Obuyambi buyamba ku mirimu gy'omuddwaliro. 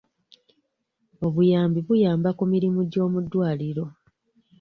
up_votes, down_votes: 2, 0